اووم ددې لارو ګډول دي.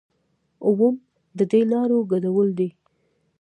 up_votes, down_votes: 0, 2